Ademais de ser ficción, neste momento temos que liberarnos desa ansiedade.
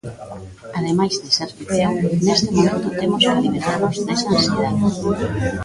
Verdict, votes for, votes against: accepted, 2, 1